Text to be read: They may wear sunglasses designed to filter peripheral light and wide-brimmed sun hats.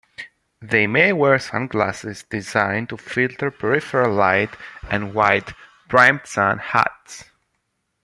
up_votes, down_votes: 2, 1